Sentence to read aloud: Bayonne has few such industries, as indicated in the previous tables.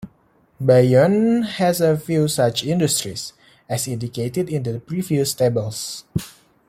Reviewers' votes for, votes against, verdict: 3, 0, accepted